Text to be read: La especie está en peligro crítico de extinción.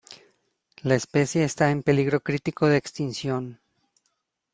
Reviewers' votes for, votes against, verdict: 1, 2, rejected